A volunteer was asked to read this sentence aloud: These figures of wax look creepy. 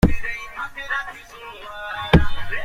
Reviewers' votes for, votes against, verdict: 0, 2, rejected